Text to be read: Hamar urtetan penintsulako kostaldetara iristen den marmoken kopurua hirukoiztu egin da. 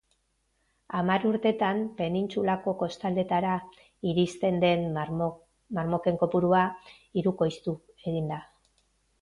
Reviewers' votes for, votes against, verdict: 1, 2, rejected